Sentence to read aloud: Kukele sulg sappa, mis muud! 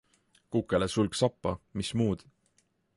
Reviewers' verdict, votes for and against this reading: accepted, 2, 0